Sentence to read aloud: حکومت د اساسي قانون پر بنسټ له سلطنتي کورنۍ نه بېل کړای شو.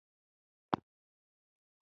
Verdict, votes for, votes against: rejected, 0, 2